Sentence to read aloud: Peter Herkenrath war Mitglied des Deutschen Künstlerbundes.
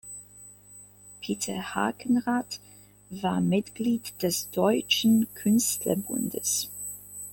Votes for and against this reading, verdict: 0, 2, rejected